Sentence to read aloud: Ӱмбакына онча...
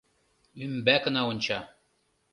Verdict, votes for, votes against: rejected, 0, 2